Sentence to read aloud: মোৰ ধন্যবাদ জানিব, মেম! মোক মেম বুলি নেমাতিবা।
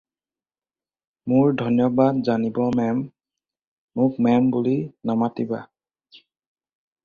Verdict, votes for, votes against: rejected, 0, 4